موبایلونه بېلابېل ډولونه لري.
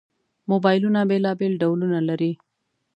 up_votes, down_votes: 2, 0